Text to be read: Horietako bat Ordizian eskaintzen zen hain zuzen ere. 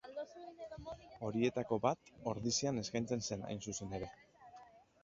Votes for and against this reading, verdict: 2, 0, accepted